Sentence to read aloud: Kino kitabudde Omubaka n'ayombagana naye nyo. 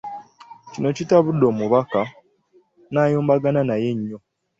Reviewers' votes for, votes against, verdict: 2, 0, accepted